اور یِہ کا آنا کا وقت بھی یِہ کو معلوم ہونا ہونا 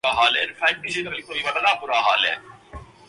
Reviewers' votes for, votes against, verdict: 2, 6, rejected